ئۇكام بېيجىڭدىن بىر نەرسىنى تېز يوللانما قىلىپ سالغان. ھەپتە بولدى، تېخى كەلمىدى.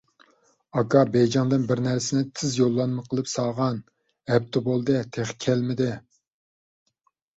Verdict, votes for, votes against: rejected, 0, 2